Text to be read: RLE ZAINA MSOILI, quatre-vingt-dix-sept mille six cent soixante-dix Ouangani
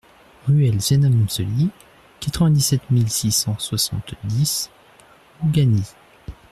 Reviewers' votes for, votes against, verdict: 0, 2, rejected